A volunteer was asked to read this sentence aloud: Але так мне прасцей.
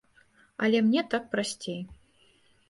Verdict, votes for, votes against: rejected, 1, 2